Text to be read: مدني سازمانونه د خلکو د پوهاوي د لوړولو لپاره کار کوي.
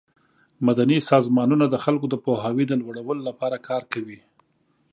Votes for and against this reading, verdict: 2, 0, accepted